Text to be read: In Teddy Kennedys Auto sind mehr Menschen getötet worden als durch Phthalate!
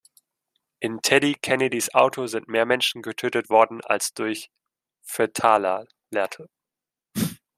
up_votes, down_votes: 0, 2